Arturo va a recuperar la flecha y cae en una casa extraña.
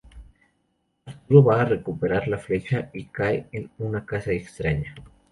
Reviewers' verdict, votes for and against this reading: rejected, 0, 2